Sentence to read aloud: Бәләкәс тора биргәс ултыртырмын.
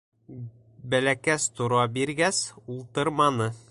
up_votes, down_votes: 1, 3